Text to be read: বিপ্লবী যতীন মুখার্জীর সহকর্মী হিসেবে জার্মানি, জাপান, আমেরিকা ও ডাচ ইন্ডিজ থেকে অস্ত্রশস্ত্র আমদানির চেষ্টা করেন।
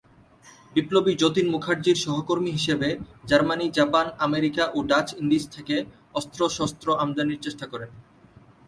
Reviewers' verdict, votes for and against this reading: rejected, 1, 2